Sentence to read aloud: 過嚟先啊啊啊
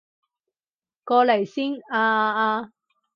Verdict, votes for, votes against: accepted, 2, 0